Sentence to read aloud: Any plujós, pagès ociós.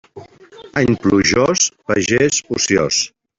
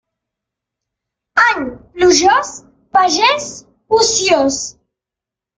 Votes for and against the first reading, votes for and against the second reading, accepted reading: 1, 2, 2, 0, second